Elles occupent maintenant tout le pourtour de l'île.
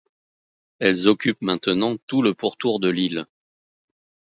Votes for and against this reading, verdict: 2, 0, accepted